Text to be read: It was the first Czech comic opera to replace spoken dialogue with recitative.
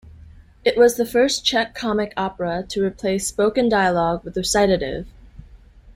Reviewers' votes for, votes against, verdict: 2, 0, accepted